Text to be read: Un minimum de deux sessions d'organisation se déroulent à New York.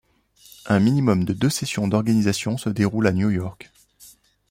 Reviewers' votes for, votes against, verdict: 2, 0, accepted